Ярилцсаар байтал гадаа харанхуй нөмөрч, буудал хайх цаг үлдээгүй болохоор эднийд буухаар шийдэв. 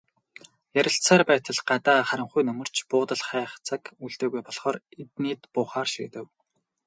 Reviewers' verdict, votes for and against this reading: rejected, 2, 2